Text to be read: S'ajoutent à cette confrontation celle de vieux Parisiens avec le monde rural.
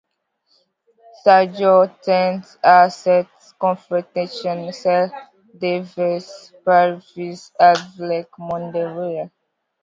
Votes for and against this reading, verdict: 0, 2, rejected